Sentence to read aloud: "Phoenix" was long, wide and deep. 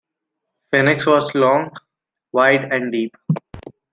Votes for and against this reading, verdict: 2, 0, accepted